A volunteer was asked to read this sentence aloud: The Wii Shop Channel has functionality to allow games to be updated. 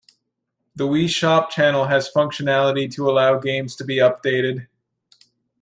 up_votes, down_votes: 2, 0